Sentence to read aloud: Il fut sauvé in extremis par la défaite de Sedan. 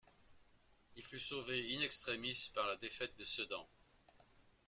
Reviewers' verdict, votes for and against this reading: accepted, 2, 1